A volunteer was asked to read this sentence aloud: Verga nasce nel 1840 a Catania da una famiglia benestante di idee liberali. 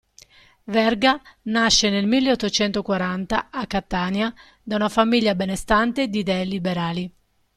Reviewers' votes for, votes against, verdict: 0, 2, rejected